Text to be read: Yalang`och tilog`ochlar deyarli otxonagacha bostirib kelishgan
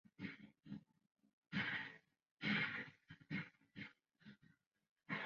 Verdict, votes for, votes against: rejected, 1, 2